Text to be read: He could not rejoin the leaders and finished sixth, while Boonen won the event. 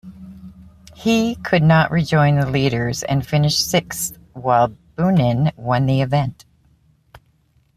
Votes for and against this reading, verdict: 2, 0, accepted